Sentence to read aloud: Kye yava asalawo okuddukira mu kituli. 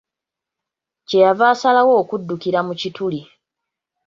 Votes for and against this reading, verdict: 3, 0, accepted